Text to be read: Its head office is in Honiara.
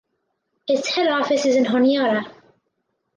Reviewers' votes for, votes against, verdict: 4, 0, accepted